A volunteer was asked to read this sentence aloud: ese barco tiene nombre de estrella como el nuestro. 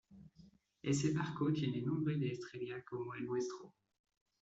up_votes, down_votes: 1, 2